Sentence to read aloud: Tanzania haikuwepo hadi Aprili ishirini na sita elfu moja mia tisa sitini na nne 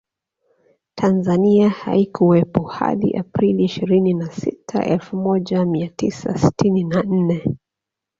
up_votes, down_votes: 1, 2